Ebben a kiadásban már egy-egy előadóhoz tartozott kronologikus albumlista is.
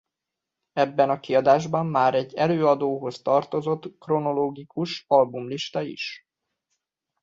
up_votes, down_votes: 0, 2